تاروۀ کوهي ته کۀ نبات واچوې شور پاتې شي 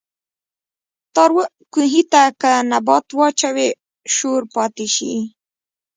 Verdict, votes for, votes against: rejected, 1, 2